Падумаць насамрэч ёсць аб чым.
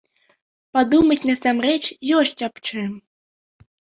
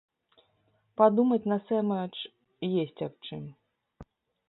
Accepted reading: first